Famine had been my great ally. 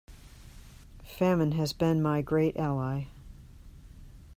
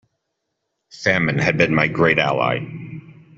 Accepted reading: second